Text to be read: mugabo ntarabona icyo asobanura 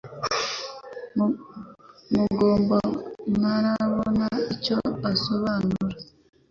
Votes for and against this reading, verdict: 1, 2, rejected